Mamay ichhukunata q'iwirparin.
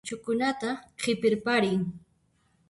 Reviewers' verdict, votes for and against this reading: rejected, 0, 2